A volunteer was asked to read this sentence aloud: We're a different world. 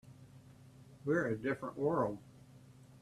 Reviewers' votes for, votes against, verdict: 2, 0, accepted